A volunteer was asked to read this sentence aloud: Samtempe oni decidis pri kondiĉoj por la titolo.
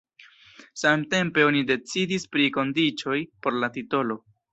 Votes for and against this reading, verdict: 1, 2, rejected